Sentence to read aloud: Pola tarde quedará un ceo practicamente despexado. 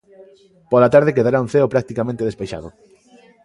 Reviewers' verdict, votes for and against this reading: accepted, 2, 0